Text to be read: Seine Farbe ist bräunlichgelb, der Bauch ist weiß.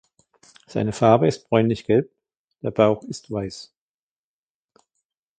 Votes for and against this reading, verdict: 2, 0, accepted